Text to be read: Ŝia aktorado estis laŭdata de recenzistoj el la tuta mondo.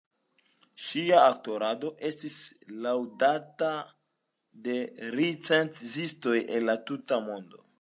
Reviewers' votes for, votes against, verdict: 1, 2, rejected